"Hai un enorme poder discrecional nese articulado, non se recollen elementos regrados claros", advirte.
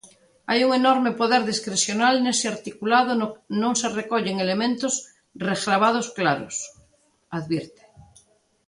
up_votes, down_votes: 0, 2